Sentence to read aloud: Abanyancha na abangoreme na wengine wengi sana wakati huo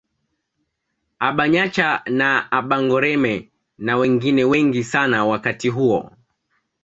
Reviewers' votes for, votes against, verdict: 2, 1, accepted